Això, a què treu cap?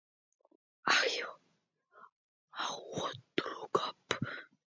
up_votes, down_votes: 0, 2